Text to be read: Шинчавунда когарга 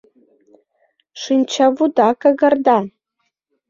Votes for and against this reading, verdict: 0, 2, rejected